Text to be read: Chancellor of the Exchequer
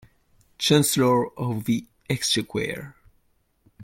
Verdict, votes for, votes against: rejected, 0, 2